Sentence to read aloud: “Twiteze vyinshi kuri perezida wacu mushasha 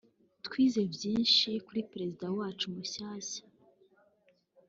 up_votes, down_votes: 0, 2